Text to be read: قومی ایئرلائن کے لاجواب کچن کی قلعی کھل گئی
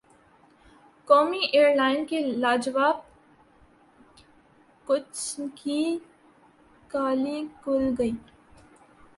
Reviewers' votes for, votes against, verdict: 0, 2, rejected